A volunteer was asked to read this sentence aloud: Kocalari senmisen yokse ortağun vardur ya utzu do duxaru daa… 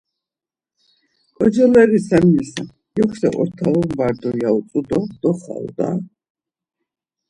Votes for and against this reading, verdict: 0, 2, rejected